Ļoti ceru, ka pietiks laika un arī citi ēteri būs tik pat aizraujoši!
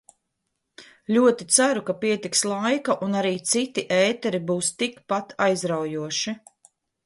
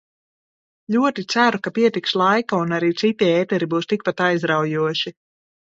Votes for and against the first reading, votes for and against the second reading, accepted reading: 2, 0, 0, 2, first